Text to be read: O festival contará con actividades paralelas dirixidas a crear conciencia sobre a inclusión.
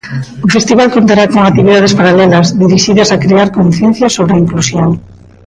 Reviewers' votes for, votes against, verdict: 2, 1, accepted